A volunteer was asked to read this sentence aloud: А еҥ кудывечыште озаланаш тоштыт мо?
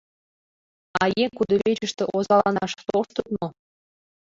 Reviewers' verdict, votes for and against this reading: rejected, 0, 2